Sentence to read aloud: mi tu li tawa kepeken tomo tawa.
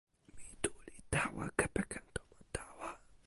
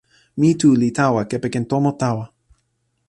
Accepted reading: second